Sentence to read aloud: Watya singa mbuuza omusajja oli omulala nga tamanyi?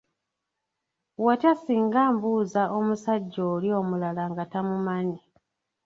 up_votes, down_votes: 0, 2